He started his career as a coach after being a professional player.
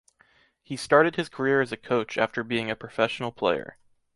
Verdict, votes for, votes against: accepted, 2, 1